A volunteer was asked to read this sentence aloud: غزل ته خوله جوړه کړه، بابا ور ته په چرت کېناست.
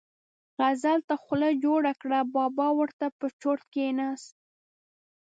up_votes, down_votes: 2, 0